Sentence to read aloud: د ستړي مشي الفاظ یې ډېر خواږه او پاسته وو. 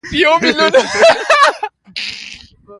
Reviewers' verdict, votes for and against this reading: rejected, 1, 2